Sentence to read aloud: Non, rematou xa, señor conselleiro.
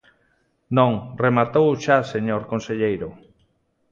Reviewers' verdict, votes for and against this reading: accepted, 2, 0